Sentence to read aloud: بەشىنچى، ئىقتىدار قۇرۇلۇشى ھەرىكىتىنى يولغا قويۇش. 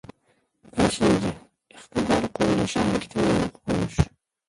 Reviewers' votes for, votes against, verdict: 0, 2, rejected